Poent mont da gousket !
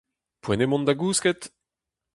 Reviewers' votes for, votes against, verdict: 0, 2, rejected